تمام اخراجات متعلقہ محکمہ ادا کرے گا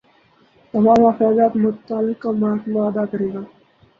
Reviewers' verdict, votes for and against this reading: rejected, 0, 4